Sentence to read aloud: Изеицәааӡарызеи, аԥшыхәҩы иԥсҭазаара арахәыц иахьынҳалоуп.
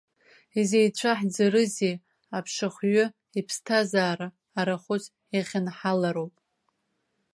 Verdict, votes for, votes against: rejected, 1, 2